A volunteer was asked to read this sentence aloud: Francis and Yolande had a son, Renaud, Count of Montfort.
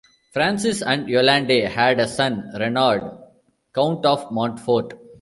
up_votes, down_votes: 1, 2